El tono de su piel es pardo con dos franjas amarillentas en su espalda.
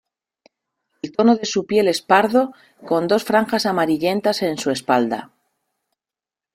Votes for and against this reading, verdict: 2, 0, accepted